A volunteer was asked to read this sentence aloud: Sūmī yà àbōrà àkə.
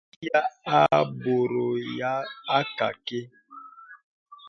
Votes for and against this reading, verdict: 1, 2, rejected